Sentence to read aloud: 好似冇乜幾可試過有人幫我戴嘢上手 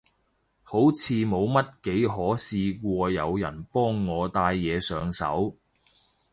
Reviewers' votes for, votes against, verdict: 2, 0, accepted